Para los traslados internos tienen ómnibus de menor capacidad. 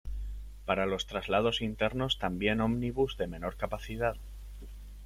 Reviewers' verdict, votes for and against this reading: rejected, 1, 2